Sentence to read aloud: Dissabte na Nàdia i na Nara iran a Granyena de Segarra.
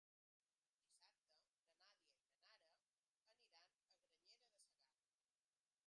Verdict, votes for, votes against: rejected, 0, 3